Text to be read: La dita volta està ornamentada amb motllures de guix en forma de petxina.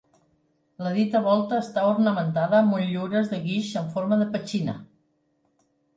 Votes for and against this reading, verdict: 3, 0, accepted